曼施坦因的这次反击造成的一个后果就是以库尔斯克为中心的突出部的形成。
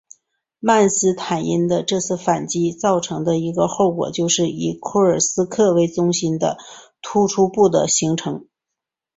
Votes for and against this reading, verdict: 2, 0, accepted